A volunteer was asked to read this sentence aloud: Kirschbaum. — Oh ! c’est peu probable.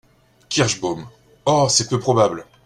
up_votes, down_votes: 2, 0